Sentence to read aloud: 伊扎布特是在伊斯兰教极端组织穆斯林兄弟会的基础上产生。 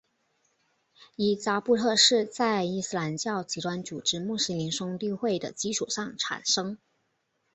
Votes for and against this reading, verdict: 2, 0, accepted